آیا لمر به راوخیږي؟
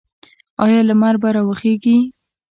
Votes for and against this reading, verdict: 2, 0, accepted